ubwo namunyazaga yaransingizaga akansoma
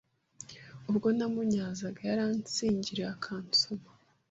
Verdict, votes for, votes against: rejected, 1, 2